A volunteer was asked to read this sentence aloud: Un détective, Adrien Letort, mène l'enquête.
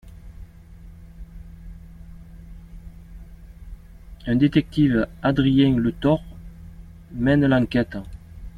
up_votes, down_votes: 2, 0